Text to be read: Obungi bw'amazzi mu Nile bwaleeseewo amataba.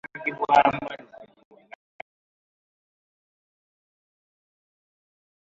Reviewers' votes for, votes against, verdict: 0, 2, rejected